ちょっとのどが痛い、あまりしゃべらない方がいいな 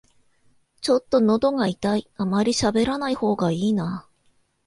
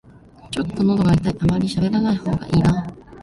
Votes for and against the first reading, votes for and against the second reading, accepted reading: 2, 0, 1, 2, first